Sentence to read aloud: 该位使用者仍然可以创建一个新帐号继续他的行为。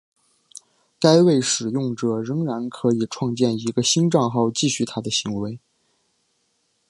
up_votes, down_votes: 3, 0